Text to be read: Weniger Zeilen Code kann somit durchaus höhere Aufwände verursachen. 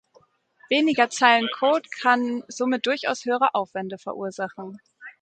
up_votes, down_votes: 2, 0